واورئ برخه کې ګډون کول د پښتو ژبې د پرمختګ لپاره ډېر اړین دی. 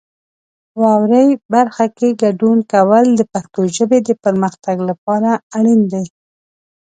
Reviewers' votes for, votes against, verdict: 1, 3, rejected